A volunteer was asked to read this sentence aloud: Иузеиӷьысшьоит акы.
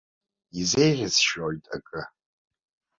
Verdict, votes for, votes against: accepted, 2, 0